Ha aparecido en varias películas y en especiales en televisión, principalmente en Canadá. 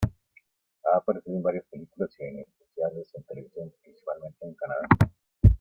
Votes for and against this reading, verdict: 1, 2, rejected